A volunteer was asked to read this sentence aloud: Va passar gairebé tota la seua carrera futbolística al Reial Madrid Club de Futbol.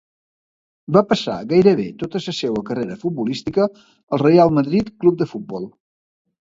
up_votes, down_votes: 1, 2